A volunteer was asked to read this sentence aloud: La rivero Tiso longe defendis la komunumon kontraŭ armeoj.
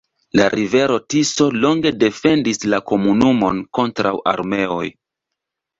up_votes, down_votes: 2, 0